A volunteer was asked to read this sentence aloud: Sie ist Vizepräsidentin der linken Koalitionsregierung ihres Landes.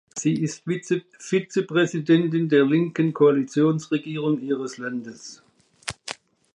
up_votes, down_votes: 0, 2